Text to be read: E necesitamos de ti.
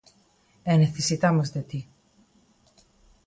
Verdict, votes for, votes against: accepted, 2, 0